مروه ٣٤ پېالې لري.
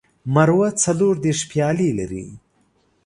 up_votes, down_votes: 0, 2